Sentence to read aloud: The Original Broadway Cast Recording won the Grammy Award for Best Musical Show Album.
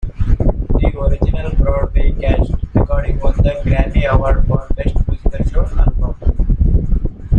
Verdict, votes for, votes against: rejected, 0, 2